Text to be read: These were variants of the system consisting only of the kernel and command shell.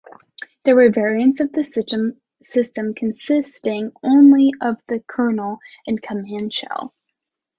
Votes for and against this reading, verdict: 0, 2, rejected